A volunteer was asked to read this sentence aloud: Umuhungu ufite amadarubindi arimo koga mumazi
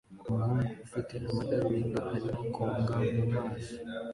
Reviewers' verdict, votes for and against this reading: accepted, 2, 0